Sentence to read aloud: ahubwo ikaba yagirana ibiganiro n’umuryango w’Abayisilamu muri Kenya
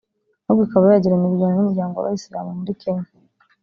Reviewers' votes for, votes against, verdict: 2, 0, accepted